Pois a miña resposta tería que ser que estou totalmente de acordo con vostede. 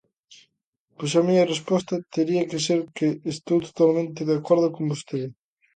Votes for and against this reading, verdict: 2, 0, accepted